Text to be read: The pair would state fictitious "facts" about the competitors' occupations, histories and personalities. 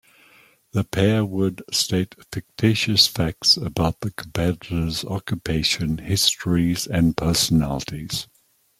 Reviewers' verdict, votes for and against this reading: rejected, 1, 2